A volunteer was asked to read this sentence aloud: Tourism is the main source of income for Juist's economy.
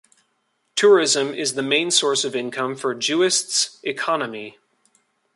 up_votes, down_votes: 2, 0